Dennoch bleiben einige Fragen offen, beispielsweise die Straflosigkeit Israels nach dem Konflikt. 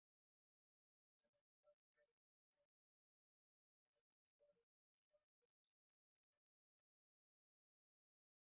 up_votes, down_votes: 0, 2